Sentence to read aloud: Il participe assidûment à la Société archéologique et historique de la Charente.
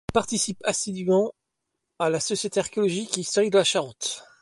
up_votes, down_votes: 2, 1